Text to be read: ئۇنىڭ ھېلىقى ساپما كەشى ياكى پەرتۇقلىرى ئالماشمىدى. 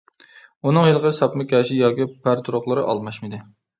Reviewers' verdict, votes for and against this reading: rejected, 0, 2